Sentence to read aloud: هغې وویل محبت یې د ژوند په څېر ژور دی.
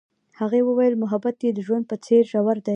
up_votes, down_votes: 2, 0